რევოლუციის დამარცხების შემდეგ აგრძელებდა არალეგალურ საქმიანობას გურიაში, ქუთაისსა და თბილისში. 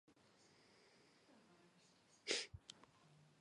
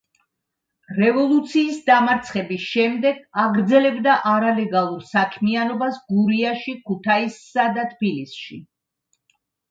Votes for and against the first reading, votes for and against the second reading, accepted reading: 1, 2, 2, 0, second